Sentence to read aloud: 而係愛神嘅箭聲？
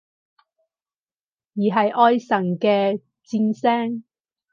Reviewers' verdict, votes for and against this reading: accepted, 4, 0